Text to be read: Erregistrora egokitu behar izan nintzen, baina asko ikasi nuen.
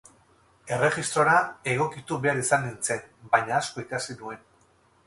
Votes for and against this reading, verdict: 2, 2, rejected